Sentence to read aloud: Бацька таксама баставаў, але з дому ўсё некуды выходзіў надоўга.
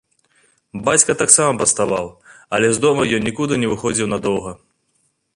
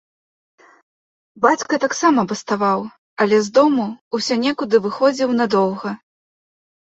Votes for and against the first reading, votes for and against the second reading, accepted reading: 0, 2, 2, 0, second